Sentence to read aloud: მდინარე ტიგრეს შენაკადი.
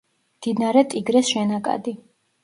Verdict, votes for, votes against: accepted, 2, 0